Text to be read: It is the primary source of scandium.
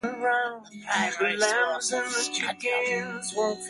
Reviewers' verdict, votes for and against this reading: rejected, 0, 2